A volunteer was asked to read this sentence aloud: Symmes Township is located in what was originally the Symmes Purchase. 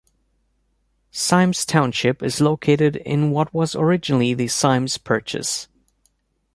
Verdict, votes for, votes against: accepted, 2, 0